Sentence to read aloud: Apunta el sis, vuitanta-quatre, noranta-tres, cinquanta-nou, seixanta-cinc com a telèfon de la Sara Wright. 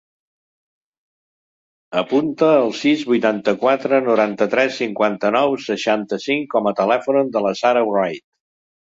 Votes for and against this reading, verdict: 2, 0, accepted